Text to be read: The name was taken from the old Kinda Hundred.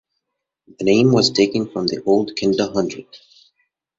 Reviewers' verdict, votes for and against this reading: accepted, 2, 0